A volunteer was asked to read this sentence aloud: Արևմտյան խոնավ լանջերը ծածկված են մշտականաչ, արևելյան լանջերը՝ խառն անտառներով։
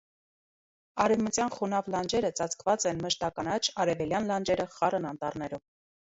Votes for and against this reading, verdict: 0, 2, rejected